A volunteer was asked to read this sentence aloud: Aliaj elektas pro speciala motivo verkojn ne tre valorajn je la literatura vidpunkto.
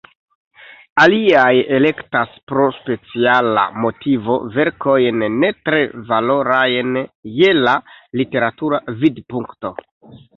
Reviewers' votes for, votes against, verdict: 1, 2, rejected